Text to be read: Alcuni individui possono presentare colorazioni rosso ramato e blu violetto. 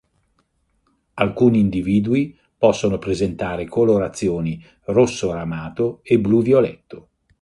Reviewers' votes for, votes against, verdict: 2, 0, accepted